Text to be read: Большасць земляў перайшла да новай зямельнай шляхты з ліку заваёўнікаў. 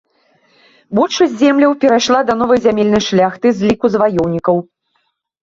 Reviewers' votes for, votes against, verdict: 2, 1, accepted